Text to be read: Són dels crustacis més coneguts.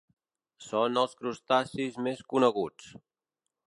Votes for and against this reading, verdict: 1, 2, rejected